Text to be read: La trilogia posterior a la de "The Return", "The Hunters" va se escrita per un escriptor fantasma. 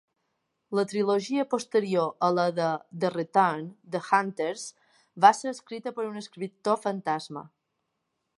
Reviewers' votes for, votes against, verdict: 2, 0, accepted